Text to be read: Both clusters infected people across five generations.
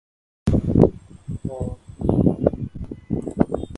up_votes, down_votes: 0, 2